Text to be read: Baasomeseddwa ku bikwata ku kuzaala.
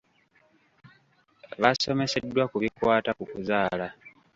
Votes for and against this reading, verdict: 2, 0, accepted